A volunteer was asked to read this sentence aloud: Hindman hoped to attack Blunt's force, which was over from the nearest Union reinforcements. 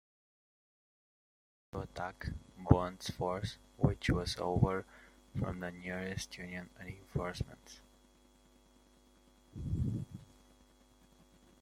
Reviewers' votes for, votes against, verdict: 0, 2, rejected